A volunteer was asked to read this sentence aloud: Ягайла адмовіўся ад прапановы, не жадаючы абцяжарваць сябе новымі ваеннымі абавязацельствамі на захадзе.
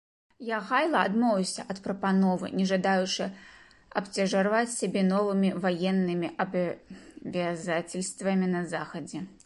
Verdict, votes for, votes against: rejected, 0, 2